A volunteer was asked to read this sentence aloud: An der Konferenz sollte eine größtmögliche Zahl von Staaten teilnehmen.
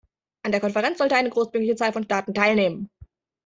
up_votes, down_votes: 1, 2